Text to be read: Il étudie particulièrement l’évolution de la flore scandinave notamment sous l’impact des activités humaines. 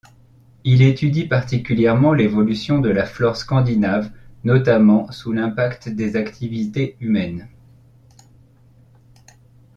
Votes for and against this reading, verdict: 2, 0, accepted